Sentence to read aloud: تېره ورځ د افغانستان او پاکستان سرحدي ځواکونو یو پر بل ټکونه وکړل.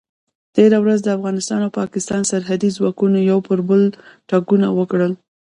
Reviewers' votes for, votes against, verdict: 0, 2, rejected